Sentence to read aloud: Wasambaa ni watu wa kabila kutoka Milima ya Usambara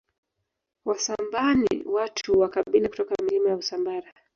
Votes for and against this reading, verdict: 2, 1, accepted